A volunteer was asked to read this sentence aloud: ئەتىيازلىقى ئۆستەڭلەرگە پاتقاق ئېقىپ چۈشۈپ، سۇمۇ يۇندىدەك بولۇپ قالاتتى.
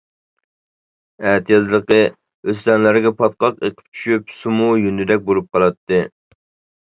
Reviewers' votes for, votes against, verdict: 2, 1, accepted